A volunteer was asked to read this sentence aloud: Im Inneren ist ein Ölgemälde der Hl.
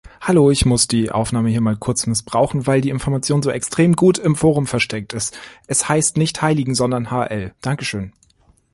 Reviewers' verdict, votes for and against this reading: rejected, 0, 2